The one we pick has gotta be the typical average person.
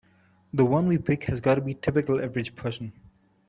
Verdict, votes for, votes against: rejected, 1, 2